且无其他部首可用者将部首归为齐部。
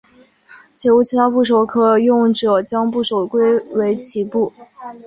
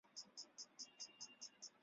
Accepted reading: first